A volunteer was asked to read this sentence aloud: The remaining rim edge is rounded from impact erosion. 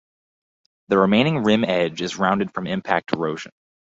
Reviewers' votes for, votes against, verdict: 2, 0, accepted